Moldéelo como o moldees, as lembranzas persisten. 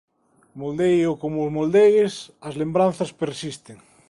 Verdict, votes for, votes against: accepted, 2, 1